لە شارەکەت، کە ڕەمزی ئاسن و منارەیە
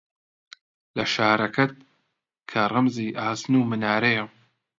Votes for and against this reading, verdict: 2, 0, accepted